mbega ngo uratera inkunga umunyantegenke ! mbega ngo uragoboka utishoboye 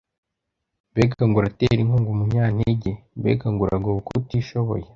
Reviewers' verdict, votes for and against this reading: rejected, 1, 2